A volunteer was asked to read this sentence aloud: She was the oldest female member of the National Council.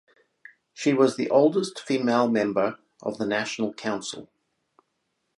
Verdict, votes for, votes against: accepted, 4, 0